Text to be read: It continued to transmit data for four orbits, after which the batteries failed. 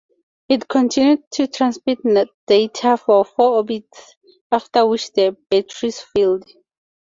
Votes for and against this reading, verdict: 2, 4, rejected